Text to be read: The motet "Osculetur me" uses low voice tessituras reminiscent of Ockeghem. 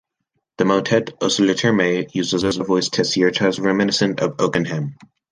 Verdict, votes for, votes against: rejected, 0, 2